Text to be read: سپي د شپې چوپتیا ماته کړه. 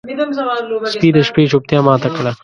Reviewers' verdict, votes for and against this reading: rejected, 0, 2